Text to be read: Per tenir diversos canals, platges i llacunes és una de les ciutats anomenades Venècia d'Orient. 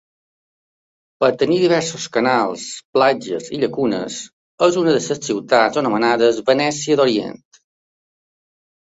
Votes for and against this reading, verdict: 2, 0, accepted